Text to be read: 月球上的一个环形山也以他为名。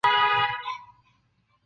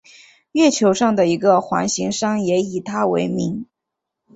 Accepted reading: second